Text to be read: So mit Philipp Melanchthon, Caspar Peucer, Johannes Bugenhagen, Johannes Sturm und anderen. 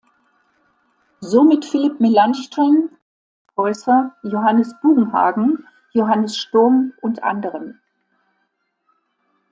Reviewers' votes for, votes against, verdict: 0, 2, rejected